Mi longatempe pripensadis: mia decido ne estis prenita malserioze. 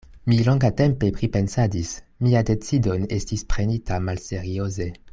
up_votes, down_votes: 2, 0